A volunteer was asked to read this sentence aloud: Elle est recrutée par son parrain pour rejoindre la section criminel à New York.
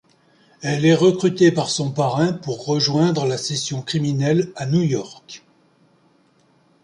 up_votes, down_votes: 0, 2